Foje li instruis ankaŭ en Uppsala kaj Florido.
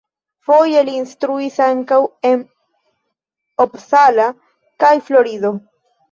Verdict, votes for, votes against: rejected, 0, 2